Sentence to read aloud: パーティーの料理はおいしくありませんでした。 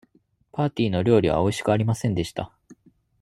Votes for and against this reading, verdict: 2, 0, accepted